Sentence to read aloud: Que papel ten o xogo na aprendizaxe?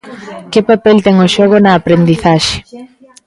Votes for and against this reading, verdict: 0, 2, rejected